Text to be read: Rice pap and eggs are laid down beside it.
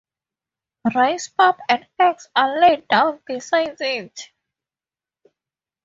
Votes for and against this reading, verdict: 4, 0, accepted